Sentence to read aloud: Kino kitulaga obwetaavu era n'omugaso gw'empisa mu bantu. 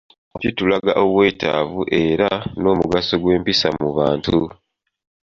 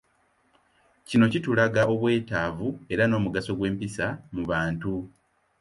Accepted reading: second